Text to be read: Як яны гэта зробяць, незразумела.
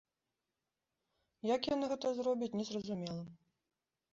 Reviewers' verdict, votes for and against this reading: accepted, 2, 0